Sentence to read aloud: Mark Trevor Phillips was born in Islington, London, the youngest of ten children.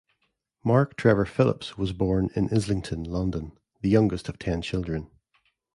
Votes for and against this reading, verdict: 2, 0, accepted